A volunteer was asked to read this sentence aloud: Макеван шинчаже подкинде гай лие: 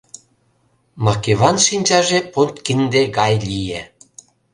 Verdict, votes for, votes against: accepted, 2, 0